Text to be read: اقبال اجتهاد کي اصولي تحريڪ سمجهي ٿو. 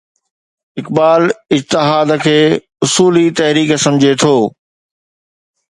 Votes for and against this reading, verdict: 2, 0, accepted